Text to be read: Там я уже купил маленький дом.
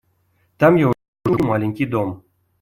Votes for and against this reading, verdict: 0, 2, rejected